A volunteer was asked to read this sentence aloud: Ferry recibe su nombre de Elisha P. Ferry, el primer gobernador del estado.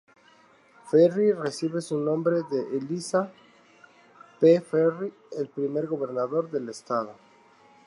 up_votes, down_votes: 2, 0